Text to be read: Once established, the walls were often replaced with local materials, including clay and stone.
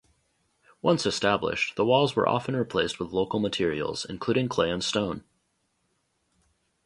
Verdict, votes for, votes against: accepted, 2, 0